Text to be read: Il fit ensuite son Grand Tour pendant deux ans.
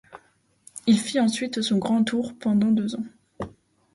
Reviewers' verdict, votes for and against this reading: accepted, 2, 0